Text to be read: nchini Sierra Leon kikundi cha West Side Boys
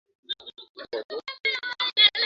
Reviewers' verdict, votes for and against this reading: rejected, 0, 2